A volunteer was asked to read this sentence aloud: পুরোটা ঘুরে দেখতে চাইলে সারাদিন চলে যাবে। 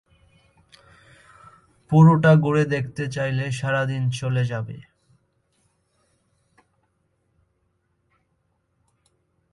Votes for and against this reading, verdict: 1, 2, rejected